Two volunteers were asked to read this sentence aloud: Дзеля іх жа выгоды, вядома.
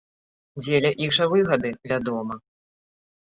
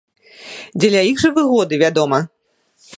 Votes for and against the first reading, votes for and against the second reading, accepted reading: 2, 3, 2, 0, second